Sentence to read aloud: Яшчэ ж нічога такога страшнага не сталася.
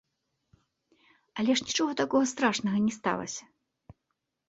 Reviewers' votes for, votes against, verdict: 0, 2, rejected